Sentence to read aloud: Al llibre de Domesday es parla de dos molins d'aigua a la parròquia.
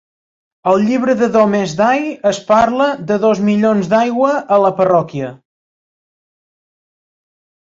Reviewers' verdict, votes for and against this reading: rejected, 0, 2